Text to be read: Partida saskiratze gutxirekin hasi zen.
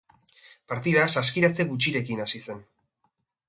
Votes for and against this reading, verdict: 2, 0, accepted